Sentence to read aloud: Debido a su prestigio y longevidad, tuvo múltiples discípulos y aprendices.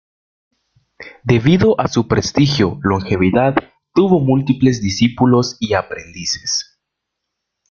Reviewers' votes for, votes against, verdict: 0, 2, rejected